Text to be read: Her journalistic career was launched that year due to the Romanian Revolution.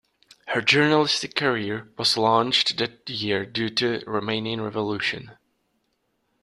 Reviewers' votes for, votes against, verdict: 2, 1, accepted